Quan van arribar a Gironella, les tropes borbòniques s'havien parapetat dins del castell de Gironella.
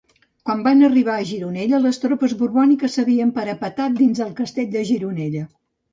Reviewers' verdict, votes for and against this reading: rejected, 0, 2